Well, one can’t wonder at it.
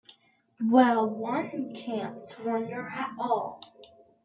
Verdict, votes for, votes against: accepted, 2, 1